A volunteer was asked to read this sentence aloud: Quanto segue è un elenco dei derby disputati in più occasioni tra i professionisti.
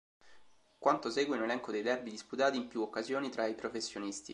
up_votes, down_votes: 2, 0